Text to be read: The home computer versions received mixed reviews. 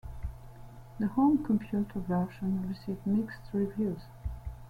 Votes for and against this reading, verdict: 2, 0, accepted